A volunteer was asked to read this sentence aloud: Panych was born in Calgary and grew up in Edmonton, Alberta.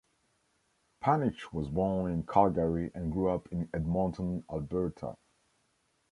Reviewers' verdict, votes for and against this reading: accepted, 2, 0